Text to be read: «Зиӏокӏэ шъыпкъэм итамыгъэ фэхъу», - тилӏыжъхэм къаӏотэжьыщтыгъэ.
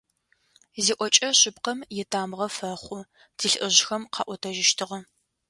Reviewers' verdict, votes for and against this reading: accepted, 2, 0